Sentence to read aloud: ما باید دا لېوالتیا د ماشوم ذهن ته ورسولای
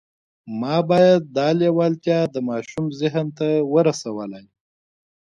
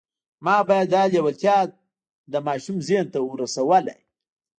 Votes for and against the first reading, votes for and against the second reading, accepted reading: 2, 0, 1, 2, first